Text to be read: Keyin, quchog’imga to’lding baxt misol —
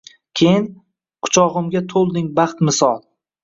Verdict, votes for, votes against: accepted, 2, 0